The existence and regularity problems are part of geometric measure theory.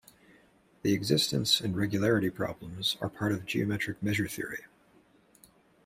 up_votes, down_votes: 1, 2